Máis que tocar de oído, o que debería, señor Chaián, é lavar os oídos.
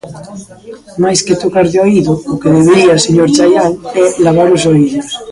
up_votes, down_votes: 2, 1